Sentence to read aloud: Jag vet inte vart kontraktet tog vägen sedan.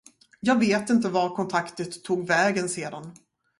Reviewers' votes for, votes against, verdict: 0, 2, rejected